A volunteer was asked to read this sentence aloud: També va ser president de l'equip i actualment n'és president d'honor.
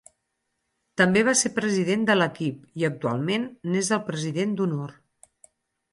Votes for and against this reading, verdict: 0, 4, rejected